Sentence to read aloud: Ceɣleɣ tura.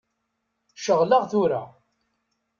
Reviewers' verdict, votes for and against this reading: accepted, 2, 0